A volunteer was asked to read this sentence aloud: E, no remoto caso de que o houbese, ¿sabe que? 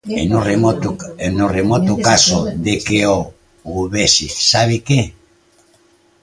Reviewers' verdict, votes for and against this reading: rejected, 0, 2